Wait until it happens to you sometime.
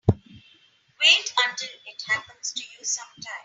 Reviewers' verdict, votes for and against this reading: accepted, 3, 0